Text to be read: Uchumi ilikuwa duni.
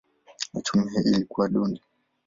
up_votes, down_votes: 3, 0